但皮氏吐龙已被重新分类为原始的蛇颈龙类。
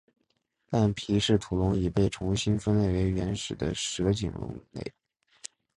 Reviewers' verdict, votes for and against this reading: accepted, 5, 0